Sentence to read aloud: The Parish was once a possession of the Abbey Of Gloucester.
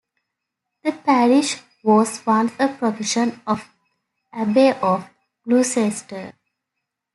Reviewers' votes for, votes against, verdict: 1, 2, rejected